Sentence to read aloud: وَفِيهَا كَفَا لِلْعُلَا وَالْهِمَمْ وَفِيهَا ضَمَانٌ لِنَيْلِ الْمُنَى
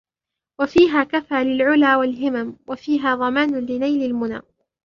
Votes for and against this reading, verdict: 2, 1, accepted